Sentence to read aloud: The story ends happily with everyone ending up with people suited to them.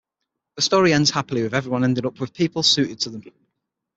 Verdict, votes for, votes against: accepted, 6, 0